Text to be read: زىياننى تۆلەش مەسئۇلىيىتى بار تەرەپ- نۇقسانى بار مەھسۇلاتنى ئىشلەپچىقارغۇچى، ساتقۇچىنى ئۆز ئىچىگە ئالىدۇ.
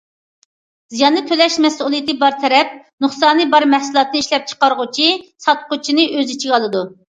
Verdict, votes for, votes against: accepted, 2, 0